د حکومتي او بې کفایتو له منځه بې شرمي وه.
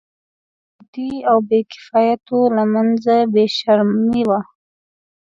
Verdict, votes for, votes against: rejected, 0, 2